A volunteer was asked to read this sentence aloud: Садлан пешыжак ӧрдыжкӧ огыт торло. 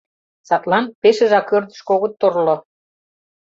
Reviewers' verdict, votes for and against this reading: rejected, 0, 2